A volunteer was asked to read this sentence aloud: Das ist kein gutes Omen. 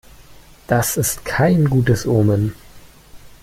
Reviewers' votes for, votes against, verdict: 2, 0, accepted